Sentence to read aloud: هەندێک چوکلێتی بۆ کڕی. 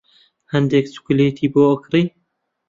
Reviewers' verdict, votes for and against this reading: rejected, 1, 2